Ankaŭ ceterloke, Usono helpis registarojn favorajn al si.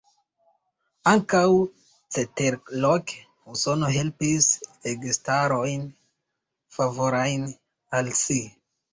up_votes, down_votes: 1, 2